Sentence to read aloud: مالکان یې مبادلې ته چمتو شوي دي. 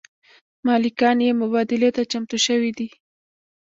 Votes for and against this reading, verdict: 1, 2, rejected